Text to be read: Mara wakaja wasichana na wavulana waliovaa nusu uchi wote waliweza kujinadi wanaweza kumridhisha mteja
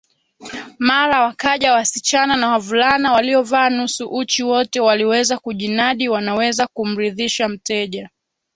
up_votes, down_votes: 0, 2